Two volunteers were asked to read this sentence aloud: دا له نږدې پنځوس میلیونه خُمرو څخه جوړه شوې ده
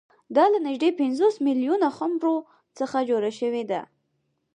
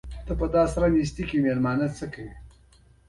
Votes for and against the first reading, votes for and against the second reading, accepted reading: 4, 0, 1, 2, first